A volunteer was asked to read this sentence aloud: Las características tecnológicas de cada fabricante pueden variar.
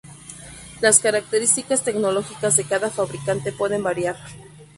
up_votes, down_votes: 0, 2